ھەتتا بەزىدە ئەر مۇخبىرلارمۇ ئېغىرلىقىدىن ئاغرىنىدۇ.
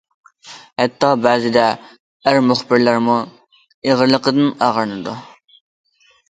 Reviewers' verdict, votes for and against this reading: accepted, 2, 0